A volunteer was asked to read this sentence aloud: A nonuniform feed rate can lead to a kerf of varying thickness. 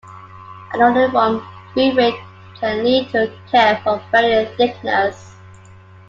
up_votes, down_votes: 2, 1